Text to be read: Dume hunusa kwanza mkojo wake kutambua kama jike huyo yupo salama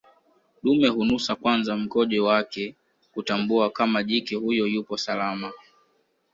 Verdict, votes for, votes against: accepted, 2, 0